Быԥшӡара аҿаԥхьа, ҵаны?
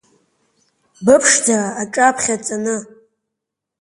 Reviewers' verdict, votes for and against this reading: accepted, 4, 3